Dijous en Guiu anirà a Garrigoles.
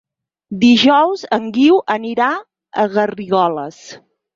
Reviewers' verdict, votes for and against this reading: accepted, 6, 0